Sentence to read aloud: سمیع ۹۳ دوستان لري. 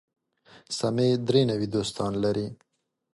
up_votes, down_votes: 0, 2